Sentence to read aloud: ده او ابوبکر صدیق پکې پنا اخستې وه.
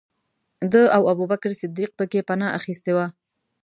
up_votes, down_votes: 2, 0